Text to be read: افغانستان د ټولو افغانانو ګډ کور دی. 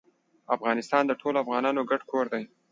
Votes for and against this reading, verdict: 2, 0, accepted